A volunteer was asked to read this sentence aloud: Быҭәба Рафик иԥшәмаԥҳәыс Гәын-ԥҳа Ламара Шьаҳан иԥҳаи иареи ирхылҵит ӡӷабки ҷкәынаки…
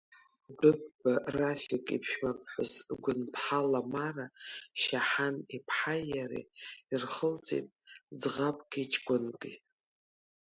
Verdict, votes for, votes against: rejected, 0, 2